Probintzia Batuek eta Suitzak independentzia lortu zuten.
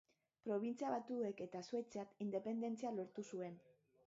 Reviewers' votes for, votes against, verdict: 0, 3, rejected